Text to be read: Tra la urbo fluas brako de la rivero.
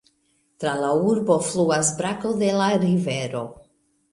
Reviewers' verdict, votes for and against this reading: accepted, 2, 0